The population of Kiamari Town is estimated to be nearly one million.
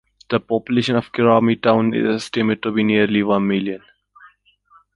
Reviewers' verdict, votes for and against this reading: accepted, 2, 1